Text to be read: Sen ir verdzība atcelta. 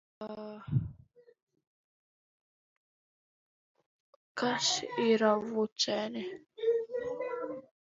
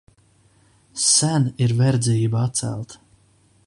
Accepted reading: second